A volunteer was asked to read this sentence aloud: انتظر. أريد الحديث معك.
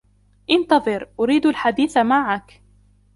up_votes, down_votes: 2, 0